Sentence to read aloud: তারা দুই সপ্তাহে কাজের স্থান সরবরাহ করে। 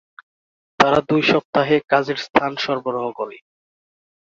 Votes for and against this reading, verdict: 2, 1, accepted